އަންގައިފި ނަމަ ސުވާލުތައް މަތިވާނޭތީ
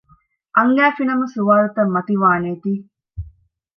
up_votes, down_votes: 2, 0